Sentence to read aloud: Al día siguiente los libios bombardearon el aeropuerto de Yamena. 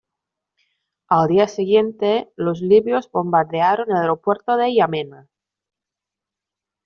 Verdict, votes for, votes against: accepted, 2, 1